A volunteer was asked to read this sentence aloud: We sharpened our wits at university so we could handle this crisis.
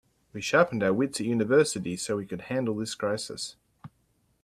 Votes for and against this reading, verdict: 2, 0, accepted